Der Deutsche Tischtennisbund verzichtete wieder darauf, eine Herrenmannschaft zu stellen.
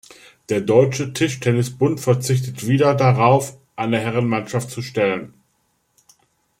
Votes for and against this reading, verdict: 1, 2, rejected